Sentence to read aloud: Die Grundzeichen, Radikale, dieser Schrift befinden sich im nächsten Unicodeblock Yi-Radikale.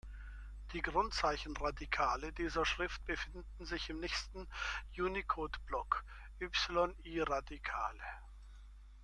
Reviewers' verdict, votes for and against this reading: rejected, 0, 2